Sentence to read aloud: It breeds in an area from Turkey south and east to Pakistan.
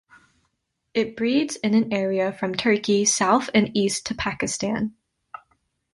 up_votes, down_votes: 2, 0